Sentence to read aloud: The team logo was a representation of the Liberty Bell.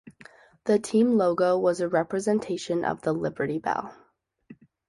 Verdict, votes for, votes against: accepted, 2, 1